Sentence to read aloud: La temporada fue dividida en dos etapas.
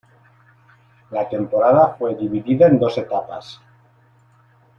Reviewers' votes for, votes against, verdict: 2, 0, accepted